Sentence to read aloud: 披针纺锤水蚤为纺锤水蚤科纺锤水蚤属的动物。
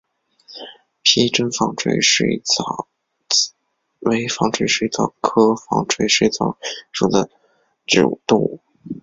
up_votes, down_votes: 2, 0